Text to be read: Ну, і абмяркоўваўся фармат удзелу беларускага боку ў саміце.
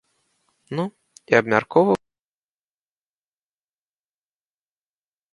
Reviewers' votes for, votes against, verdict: 0, 2, rejected